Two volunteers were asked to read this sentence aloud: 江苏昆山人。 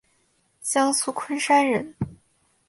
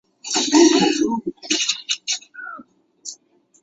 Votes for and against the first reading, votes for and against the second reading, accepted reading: 2, 0, 0, 2, first